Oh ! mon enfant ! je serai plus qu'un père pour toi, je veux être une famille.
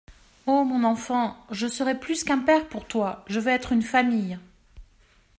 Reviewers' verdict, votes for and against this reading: accepted, 2, 0